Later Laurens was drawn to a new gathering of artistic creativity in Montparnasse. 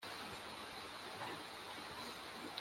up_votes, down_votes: 0, 2